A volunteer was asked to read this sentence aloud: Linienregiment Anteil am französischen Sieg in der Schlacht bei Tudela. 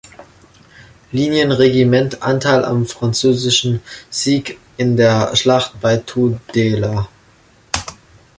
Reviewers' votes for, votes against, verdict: 2, 1, accepted